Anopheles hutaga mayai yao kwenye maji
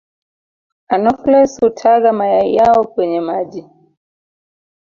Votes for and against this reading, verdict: 1, 2, rejected